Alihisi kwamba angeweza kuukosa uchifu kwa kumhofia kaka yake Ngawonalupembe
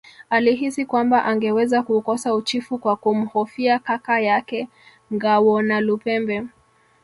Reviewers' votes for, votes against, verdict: 1, 2, rejected